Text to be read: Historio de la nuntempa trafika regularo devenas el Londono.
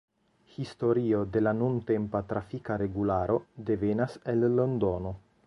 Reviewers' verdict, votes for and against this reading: accepted, 2, 0